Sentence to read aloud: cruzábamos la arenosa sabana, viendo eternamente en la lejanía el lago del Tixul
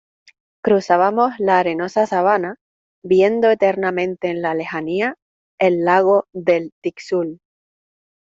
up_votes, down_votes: 2, 0